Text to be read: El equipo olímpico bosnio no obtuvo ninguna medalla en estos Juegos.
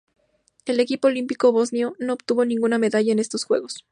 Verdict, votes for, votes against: accepted, 2, 0